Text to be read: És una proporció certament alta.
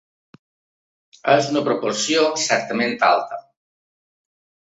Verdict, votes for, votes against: accepted, 3, 0